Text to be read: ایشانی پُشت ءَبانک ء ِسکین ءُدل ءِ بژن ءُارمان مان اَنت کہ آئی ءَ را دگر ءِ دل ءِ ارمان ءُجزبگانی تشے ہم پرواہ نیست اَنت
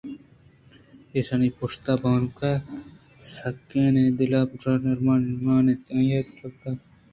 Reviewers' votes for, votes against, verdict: 2, 0, accepted